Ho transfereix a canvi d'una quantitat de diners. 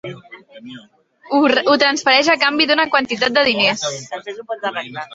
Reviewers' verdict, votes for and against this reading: rejected, 0, 3